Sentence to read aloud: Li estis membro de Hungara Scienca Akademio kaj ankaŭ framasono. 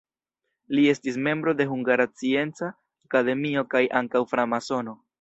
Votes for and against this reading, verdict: 0, 2, rejected